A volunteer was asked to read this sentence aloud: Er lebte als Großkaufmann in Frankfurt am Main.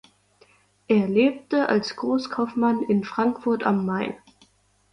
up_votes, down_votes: 2, 0